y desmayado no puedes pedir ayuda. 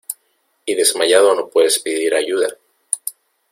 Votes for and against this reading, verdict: 2, 0, accepted